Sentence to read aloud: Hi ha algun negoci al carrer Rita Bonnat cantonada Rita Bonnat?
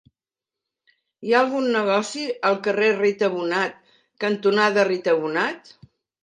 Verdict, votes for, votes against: accepted, 2, 1